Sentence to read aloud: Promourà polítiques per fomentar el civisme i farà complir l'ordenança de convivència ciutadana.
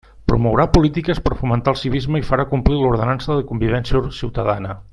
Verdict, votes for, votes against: rejected, 0, 2